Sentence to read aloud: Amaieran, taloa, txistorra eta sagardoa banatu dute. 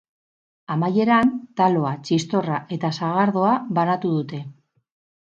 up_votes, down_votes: 6, 0